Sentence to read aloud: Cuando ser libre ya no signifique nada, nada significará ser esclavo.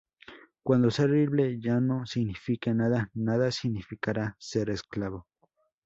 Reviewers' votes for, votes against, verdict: 0, 2, rejected